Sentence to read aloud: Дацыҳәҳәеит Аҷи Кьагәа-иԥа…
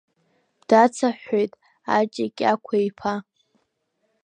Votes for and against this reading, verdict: 1, 2, rejected